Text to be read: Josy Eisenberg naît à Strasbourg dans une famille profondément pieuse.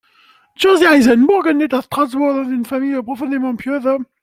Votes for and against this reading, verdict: 2, 3, rejected